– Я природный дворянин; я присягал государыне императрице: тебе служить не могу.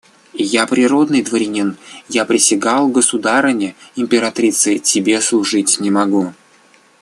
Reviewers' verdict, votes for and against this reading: accepted, 2, 0